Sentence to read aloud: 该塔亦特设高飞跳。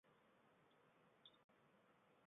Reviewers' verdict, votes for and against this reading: rejected, 1, 3